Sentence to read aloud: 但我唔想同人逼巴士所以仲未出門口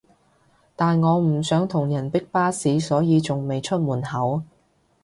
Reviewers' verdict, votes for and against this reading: accepted, 2, 0